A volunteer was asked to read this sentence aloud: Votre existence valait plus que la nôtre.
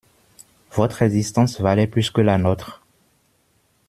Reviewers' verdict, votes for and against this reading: accepted, 2, 1